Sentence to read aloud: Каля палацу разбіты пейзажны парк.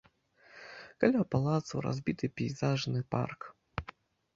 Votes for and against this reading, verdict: 2, 0, accepted